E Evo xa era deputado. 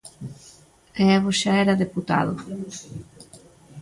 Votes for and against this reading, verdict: 2, 0, accepted